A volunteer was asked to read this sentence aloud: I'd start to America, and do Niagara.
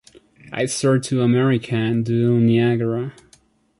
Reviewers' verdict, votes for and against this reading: accepted, 2, 0